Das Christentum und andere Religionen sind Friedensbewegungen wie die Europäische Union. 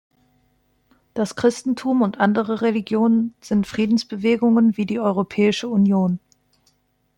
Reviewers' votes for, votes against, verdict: 3, 0, accepted